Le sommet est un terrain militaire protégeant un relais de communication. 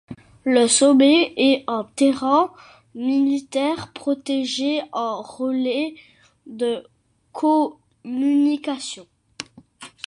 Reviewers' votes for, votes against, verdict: 0, 2, rejected